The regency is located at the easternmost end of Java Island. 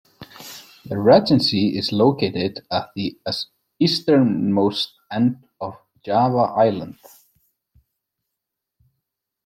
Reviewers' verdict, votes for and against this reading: rejected, 0, 2